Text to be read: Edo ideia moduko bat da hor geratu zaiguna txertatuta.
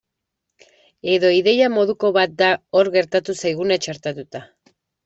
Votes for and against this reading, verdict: 1, 2, rejected